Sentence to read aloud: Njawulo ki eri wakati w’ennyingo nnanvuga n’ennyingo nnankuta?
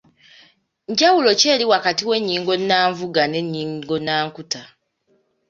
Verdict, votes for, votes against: accepted, 2, 0